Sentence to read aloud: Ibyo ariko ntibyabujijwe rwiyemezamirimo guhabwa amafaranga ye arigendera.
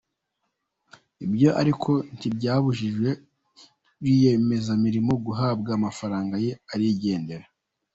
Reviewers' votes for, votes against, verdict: 0, 2, rejected